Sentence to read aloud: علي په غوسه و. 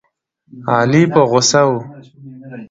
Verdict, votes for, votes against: rejected, 0, 2